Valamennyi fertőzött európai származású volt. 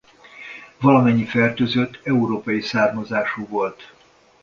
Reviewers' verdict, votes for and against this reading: accepted, 2, 0